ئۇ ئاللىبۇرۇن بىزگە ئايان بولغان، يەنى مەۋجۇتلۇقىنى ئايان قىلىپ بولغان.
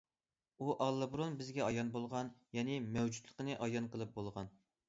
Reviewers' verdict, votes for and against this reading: accepted, 2, 0